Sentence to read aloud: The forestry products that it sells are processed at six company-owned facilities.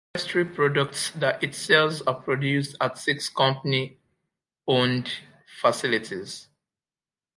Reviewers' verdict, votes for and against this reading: rejected, 1, 2